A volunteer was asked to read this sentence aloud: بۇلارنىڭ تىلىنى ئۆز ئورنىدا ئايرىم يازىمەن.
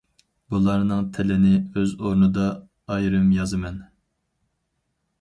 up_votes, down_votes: 4, 0